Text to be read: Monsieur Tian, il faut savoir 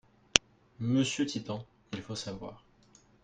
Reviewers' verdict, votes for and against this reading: rejected, 0, 4